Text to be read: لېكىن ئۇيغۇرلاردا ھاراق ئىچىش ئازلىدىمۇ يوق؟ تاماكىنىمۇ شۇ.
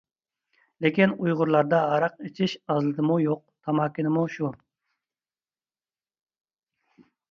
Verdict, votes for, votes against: accepted, 2, 0